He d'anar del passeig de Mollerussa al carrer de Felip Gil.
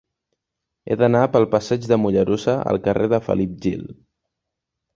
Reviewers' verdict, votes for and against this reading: rejected, 1, 2